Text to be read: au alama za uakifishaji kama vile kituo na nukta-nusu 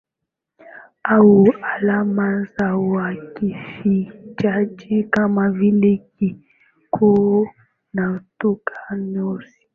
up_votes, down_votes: 4, 1